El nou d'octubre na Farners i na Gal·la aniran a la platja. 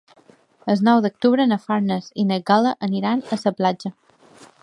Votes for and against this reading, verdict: 1, 2, rejected